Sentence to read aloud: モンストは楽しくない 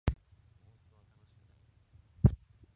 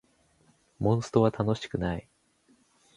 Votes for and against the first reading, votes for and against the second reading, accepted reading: 1, 3, 2, 0, second